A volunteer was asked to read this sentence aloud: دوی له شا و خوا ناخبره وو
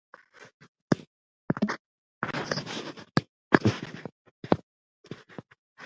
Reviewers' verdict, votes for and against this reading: rejected, 0, 3